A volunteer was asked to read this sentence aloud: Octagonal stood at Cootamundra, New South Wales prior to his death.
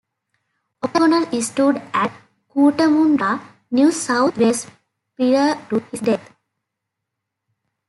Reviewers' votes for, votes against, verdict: 1, 2, rejected